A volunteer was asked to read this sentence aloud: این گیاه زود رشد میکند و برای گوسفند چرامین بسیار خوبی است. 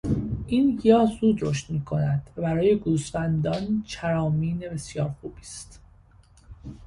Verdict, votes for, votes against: rejected, 1, 2